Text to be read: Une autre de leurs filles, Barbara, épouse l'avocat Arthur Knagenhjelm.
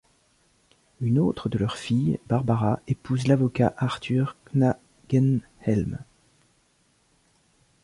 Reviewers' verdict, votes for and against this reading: rejected, 0, 2